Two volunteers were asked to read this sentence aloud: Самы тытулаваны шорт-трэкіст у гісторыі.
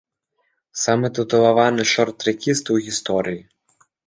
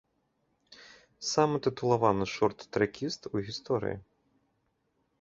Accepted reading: second